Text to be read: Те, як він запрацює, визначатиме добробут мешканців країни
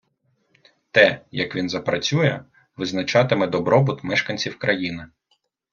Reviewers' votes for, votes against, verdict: 2, 0, accepted